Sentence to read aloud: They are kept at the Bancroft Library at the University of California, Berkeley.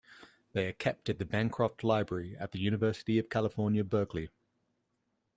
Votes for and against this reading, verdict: 2, 0, accepted